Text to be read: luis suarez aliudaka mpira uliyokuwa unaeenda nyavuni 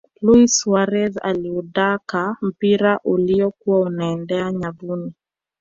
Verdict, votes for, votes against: accepted, 2, 0